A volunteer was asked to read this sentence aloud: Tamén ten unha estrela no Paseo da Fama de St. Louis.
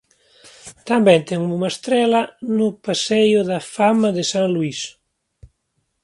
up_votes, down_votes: 2, 1